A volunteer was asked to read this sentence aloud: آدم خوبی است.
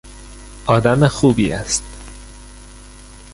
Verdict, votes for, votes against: accepted, 2, 1